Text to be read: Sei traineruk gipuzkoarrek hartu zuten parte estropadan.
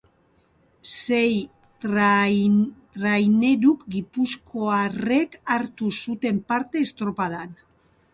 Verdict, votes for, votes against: rejected, 1, 2